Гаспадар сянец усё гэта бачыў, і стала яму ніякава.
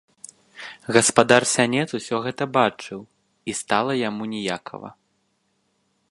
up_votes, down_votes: 1, 2